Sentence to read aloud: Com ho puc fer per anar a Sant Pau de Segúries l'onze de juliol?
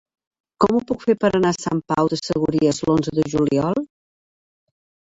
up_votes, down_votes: 1, 2